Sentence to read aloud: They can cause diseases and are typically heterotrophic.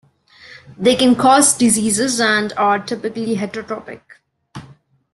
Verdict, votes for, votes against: accepted, 2, 1